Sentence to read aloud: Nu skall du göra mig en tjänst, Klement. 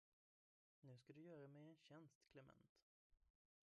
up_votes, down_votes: 1, 2